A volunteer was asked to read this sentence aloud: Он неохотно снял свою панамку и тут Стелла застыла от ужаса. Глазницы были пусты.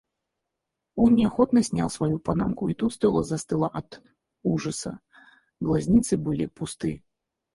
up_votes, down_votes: 2, 4